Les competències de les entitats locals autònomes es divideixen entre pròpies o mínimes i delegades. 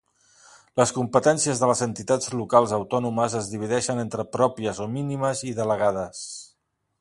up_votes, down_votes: 2, 0